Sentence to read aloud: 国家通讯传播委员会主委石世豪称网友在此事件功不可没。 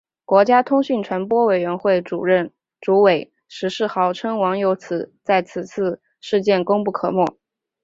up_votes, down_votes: 2, 0